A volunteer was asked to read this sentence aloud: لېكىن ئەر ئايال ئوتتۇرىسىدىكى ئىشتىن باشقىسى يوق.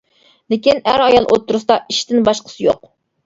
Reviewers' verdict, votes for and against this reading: rejected, 0, 2